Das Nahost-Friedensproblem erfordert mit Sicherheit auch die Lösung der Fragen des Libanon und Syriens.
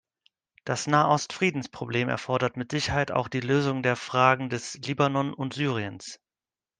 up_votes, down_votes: 2, 0